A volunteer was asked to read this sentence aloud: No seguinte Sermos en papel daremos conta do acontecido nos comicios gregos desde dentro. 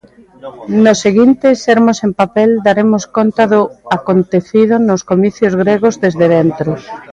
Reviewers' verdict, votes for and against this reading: rejected, 0, 2